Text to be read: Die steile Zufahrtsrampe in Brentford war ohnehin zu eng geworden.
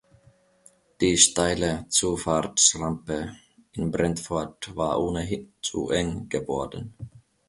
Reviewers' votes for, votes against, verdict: 2, 0, accepted